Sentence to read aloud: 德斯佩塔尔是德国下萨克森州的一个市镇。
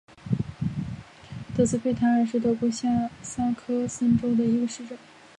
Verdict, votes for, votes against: rejected, 1, 2